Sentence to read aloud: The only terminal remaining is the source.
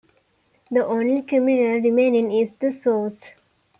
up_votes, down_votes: 2, 0